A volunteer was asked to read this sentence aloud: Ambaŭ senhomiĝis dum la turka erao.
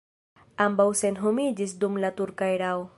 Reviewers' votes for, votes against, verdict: 1, 2, rejected